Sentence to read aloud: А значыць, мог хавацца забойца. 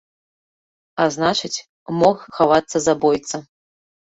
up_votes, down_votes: 2, 0